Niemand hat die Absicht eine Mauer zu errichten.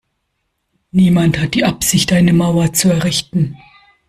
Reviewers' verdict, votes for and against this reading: accepted, 2, 0